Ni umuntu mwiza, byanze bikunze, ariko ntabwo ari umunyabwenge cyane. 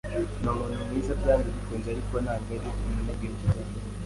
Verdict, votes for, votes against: accepted, 2, 0